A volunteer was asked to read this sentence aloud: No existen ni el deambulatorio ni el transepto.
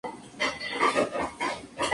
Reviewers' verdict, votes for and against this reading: rejected, 0, 2